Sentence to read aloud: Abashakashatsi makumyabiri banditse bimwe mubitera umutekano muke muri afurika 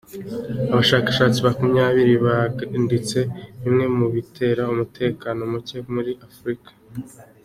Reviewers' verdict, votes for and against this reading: accepted, 2, 0